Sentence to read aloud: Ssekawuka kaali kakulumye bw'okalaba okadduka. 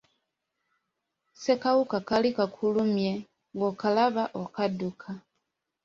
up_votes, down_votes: 2, 0